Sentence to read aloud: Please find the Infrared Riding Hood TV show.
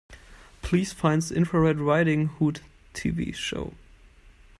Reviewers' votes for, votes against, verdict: 0, 2, rejected